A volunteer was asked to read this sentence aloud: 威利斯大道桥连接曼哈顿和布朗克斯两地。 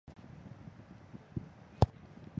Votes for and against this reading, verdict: 0, 3, rejected